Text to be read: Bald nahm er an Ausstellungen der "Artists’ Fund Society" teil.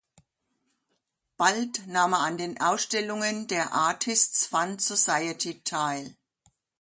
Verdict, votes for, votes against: accepted, 2, 1